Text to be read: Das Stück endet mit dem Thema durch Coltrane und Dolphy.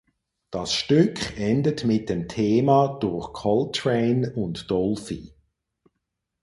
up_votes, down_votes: 4, 0